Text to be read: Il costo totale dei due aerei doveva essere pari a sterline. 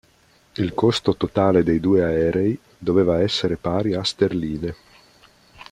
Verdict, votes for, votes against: accepted, 2, 0